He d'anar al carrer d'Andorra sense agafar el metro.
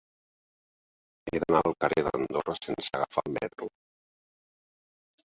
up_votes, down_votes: 1, 2